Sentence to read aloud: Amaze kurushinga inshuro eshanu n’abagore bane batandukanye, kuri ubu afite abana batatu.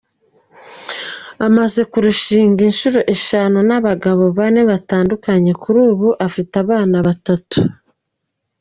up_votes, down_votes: 1, 2